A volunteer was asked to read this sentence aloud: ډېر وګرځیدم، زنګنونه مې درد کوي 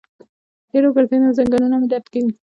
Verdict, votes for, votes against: accepted, 2, 0